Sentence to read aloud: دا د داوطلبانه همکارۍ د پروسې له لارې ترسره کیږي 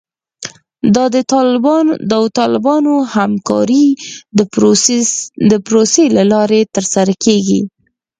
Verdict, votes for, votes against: rejected, 2, 4